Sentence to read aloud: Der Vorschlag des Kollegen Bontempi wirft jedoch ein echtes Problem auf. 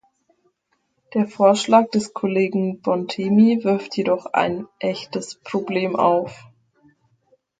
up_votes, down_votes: 0, 4